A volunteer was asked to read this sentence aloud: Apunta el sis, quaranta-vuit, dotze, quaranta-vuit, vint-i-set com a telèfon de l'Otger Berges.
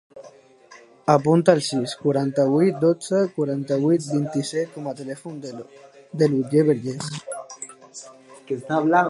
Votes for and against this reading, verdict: 1, 4, rejected